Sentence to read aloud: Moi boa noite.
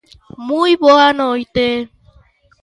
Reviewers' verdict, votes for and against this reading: accepted, 2, 0